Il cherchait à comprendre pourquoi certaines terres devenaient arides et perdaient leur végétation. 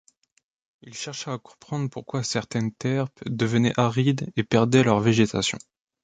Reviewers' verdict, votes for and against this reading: rejected, 1, 2